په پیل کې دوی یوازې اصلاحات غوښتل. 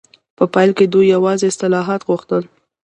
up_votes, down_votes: 2, 0